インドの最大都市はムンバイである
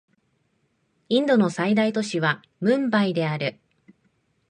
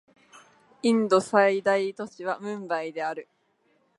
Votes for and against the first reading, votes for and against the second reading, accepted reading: 2, 0, 1, 2, first